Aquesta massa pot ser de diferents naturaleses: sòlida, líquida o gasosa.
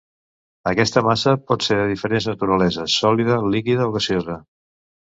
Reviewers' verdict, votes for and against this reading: rejected, 1, 2